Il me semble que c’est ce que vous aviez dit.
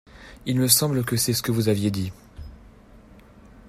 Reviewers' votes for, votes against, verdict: 2, 0, accepted